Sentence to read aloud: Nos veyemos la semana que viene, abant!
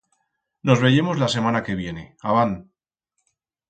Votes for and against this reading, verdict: 4, 0, accepted